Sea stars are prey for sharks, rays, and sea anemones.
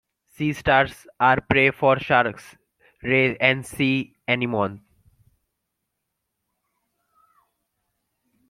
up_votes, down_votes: 2, 0